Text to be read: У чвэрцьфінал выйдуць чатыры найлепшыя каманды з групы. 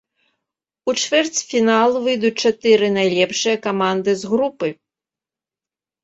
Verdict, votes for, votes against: accepted, 2, 0